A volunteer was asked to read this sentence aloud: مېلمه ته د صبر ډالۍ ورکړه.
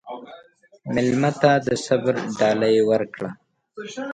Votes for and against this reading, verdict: 2, 0, accepted